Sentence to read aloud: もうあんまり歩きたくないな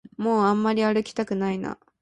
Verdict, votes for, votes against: accepted, 2, 0